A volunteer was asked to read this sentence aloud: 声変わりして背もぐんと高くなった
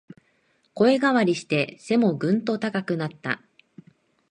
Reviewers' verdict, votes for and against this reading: accepted, 3, 0